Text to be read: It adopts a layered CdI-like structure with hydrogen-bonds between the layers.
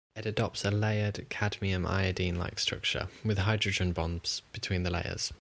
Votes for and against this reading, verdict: 2, 0, accepted